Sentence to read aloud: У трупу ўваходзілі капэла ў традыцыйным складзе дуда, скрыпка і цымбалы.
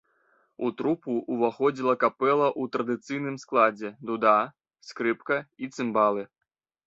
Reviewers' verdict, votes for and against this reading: rejected, 1, 2